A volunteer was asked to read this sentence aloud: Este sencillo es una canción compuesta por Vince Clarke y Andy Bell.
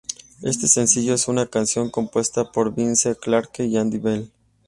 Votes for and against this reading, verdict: 2, 0, accepted